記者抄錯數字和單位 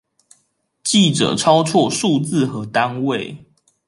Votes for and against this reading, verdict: 2, 0, accepted